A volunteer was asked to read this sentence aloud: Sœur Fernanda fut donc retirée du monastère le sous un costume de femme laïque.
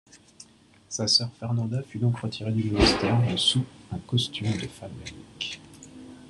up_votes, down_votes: 0, 2